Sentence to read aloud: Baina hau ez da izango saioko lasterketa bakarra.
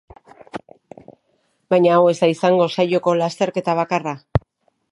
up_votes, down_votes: 2, 0